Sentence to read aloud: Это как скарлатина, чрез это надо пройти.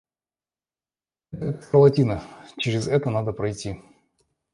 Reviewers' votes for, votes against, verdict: 1, 2, rejected